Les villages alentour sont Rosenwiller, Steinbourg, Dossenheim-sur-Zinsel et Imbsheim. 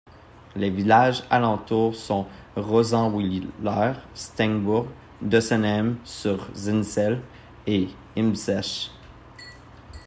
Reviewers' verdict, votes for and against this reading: rejected, 0, 2